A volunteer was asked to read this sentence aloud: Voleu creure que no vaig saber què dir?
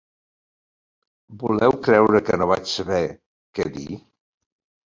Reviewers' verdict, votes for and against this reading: accepted, 26, 4